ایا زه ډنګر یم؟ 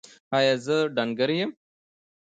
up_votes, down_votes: 2, 0